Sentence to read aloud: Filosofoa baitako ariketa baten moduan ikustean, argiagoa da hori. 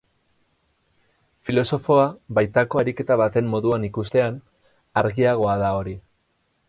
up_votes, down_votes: 4, 0